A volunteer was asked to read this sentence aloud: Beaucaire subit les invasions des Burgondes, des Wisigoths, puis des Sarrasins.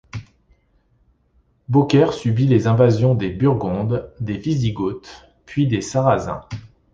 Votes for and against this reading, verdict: 2, 0, accepted